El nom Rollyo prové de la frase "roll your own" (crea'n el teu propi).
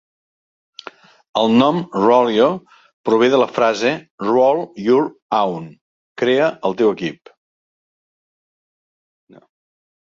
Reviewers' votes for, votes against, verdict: 0, 2, rejected